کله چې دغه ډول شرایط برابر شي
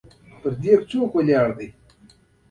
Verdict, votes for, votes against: rejected, 0, 2